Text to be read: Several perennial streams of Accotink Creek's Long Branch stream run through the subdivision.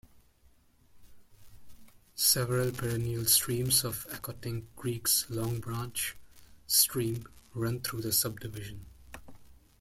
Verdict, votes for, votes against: rejected, 1, 2